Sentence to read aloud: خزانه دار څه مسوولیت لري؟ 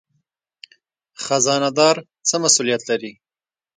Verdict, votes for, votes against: rejected, 1, 2